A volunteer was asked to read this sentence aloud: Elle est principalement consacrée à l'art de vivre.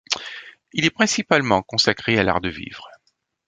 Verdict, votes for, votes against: rejected, 1, 2